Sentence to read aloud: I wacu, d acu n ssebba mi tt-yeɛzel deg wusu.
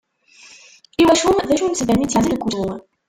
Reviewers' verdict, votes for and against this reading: rejected, 0, 2